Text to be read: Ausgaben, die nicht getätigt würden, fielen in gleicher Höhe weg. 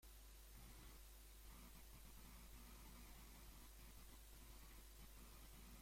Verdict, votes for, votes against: rejected, 0, 2